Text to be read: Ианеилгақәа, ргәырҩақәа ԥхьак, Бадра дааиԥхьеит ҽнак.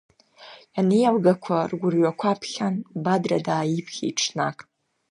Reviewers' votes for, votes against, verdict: 2, 0, accepted